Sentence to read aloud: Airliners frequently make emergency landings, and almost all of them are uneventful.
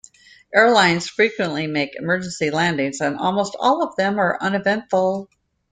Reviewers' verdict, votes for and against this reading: rejected, 0, 2